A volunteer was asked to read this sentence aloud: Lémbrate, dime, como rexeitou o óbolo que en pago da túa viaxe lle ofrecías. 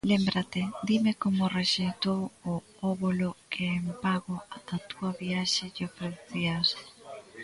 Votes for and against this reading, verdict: 0, 2, rejected